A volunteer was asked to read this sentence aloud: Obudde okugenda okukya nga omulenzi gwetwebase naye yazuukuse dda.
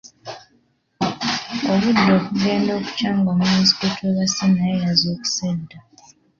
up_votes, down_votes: 2, 0